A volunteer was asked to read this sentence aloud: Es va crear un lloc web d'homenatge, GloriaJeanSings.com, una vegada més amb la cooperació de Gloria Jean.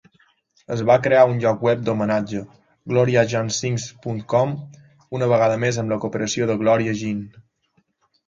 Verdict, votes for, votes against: accepted, 2, 0